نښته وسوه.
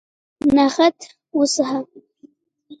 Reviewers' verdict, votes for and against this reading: rejected, 0, 2